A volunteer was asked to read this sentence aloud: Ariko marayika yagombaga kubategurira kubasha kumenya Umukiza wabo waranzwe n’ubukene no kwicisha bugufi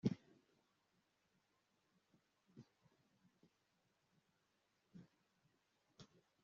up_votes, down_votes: 0, 2